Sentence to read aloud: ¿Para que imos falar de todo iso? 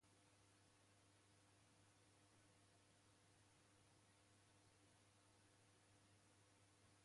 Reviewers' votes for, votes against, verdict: 0, 2, rejected